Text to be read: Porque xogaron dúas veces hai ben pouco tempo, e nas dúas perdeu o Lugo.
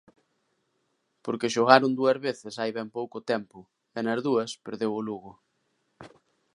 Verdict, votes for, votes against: accepted, 2, 0